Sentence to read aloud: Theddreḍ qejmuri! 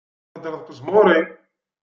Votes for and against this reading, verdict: 0, 2, rejected